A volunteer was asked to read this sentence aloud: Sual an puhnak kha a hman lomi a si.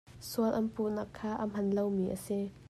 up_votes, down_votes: 2, 0